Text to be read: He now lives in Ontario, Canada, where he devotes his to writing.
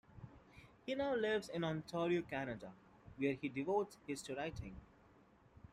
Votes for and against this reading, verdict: 1, 2, rejected